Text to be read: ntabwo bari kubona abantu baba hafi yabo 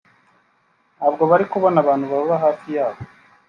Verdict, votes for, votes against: accepted, 3, 0